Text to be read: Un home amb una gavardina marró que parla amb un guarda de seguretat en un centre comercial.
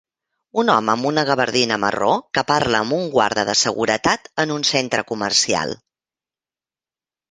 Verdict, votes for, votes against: accepted, 2, 0